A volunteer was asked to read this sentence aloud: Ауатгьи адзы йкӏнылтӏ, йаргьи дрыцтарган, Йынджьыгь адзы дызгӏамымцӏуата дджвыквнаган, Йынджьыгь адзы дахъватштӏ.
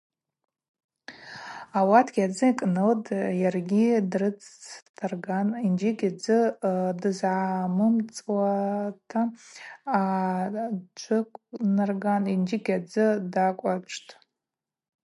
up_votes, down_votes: 0, 2